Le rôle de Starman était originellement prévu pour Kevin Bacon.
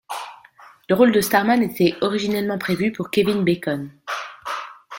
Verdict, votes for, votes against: accepted, 2, 0